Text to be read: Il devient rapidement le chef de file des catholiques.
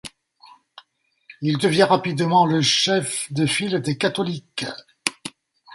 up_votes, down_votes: 2, 0